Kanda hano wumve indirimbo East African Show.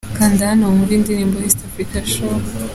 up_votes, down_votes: 2, 0